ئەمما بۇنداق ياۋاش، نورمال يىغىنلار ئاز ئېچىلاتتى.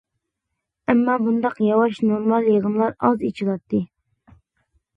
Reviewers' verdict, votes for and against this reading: accepted, 2, 0